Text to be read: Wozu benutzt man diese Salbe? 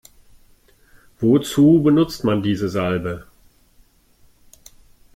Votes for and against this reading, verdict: 2, 0, accepted